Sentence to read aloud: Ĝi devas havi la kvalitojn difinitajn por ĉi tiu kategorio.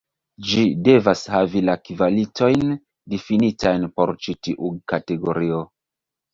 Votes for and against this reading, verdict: 0, 2, rejected